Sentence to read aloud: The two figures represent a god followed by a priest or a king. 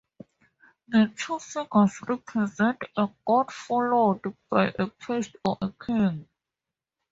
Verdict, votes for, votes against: accepted, 2, 0